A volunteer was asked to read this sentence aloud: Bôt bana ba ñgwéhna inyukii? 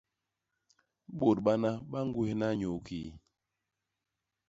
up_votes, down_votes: 2, 0